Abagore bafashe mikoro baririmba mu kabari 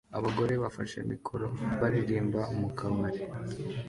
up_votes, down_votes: 2, 0